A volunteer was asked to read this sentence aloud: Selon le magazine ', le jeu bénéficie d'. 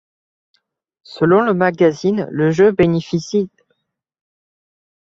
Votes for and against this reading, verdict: 1, 2, rejected